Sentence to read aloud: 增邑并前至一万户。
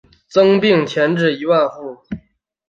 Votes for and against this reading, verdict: 6, 0, accepted